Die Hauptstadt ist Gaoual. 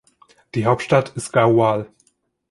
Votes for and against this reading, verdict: 2, 0, accepted